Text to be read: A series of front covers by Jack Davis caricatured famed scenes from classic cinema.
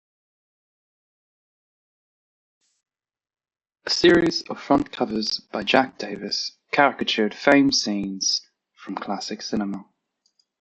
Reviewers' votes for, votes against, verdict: 2, 0, accepted